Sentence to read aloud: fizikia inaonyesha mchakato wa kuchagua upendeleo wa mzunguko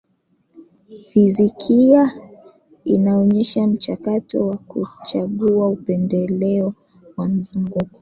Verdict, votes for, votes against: accepted, 2, 1